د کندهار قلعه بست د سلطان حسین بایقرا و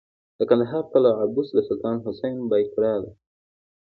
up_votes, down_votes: 1, 2